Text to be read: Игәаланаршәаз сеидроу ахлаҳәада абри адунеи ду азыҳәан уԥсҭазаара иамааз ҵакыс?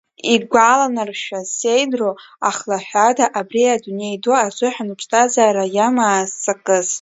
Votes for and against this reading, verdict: 0, 2, rejected